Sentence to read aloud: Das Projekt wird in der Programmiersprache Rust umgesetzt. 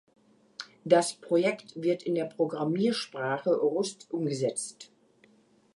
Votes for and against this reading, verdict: 0, 2, rejected